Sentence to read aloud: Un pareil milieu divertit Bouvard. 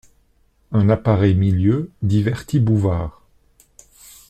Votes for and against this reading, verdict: 0, 2, rejected